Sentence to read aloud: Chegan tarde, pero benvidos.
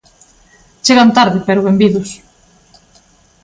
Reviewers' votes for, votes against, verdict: 2, 0, accepted